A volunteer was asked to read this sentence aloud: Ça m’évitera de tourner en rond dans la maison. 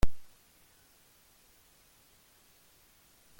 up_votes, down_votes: 0, 2